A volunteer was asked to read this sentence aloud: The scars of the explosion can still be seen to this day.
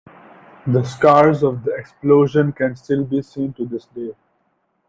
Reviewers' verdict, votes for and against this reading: accepted, 2, 0